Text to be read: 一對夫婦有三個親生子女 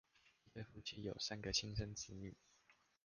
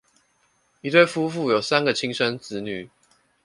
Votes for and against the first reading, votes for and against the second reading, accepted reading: 1, 2, 2, 0, second